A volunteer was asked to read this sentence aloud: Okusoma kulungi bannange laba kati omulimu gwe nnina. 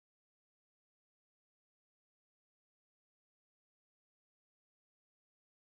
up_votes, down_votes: 0, 2